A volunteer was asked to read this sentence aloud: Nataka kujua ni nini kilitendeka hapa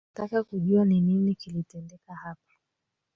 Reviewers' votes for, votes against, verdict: 2, 1, accepted